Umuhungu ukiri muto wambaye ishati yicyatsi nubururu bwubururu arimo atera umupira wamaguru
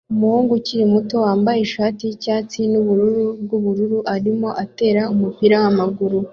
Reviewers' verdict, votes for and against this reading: accepted, 2, 0